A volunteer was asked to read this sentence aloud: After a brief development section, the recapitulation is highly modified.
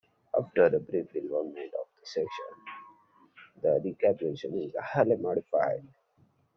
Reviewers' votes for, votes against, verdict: 0, 2, rejected